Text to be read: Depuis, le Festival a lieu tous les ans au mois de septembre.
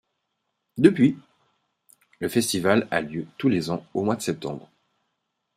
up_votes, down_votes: 2, 0